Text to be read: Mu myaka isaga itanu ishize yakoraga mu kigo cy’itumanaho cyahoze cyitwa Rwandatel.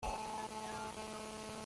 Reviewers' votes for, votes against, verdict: 0, 2, rejected